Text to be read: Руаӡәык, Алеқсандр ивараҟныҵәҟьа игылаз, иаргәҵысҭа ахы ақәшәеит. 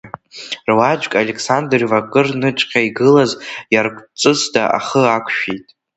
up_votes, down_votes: 1, 2